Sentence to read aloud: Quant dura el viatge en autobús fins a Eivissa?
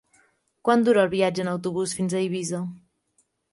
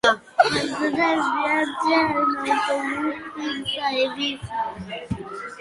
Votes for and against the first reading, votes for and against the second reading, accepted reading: 3, 0, 1, 3, first